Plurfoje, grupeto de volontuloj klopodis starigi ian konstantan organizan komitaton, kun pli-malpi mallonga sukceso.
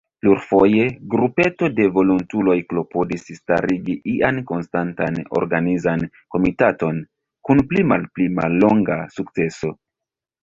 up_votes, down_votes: 1, 2